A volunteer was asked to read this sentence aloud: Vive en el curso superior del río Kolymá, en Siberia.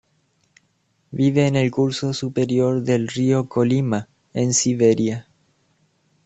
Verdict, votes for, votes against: accepted, 2, 0